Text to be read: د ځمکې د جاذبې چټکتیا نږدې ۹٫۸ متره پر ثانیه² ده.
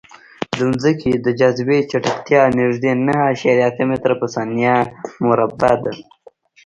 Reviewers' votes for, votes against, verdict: 0, 2, rejected